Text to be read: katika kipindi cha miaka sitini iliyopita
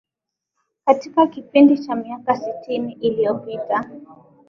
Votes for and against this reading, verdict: 2, 0, accepted